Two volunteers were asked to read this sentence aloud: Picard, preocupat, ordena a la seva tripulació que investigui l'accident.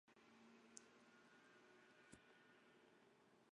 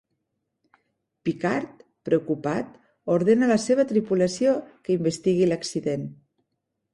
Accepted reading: second